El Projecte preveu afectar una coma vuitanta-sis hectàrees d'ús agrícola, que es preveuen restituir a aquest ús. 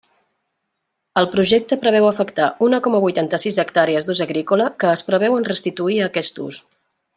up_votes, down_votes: 2, 0